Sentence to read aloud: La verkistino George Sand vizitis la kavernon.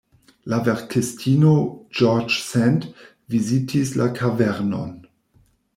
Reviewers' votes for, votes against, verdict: 1, 2, rejected